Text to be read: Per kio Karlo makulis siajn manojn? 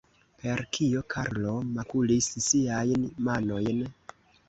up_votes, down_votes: 2, 0